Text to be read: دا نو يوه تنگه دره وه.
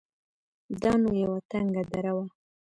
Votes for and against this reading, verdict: 1, 2, rejected